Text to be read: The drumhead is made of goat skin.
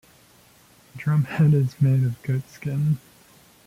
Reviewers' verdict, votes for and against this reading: accepted, 2, 0